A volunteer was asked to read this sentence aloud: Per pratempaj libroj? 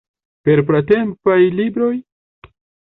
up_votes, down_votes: 0, 2